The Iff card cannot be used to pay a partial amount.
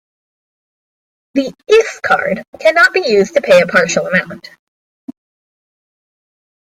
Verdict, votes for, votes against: accepted, 2, 0